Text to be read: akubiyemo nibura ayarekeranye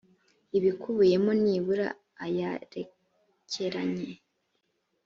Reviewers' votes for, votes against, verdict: 1, 2, rejected